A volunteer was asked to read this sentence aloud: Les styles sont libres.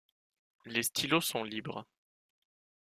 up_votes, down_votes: 1, 2